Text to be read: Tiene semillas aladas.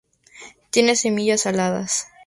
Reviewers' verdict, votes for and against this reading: accepted, 2, 0